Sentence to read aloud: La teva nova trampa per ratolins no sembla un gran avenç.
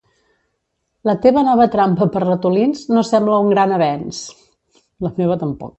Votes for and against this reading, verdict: 1, 2, rejected